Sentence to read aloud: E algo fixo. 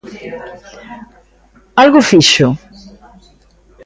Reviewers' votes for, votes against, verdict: 0, 2, rejected